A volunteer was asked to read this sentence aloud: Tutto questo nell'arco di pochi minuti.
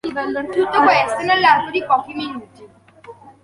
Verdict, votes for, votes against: accepted, 2, 0